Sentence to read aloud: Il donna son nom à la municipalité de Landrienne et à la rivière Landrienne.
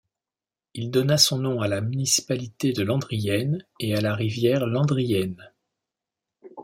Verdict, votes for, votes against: accepted, 2, 0